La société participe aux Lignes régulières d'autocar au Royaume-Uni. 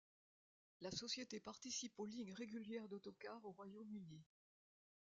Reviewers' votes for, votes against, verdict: 1, 2, rejected